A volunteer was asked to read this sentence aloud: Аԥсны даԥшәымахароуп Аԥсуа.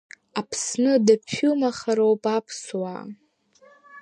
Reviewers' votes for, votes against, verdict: 3, 0, accepted